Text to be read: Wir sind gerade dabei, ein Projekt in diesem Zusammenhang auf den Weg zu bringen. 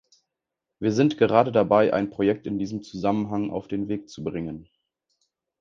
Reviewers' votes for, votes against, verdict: 2, 0, accepted